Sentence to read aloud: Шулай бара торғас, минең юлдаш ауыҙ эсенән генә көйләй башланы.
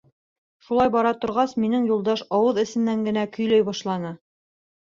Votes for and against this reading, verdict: 2, 0, accepted